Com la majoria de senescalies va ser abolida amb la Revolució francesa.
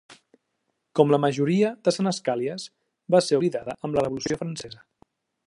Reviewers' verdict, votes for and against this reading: rejected, 0, 2